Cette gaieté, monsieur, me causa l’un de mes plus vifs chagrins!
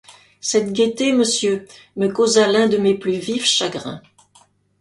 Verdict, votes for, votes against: accepted, 2, 0